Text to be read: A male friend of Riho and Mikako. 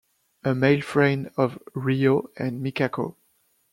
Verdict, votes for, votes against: accepted, 2, 1